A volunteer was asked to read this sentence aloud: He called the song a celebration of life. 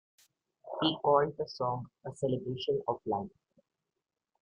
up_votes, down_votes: 2, 1